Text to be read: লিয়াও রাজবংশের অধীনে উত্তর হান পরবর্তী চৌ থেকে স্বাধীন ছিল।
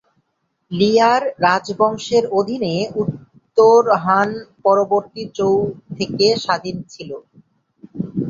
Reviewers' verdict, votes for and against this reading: rejected, 1, 7